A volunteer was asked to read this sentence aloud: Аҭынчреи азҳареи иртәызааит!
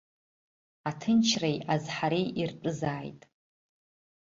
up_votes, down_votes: 2, 0